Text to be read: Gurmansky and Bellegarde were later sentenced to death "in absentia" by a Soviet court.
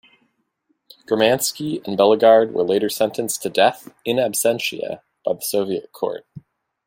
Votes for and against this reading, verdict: 0, 2, rejected